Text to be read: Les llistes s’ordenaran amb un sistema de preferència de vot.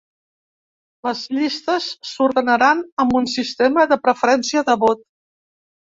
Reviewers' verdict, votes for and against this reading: accepted, 3, 0